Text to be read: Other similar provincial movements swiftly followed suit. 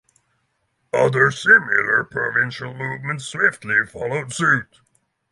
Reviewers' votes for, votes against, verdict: 6, 3, accepted